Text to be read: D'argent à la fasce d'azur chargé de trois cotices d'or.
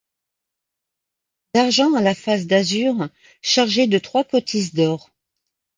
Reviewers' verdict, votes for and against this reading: rejected, 1, 2